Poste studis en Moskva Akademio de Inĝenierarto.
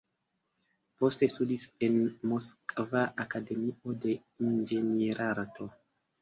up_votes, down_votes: 2, 0